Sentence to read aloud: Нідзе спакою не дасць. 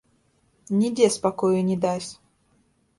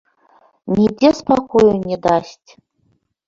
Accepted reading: second